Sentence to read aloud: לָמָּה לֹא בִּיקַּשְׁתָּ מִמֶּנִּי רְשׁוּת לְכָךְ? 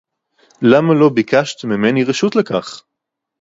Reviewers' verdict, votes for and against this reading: rejected, 0, 2